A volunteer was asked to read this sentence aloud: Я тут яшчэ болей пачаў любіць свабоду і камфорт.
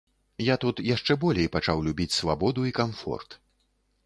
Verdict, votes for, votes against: accepted, 2, 0